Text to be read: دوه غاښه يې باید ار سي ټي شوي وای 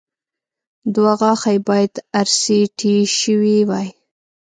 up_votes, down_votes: 2, 0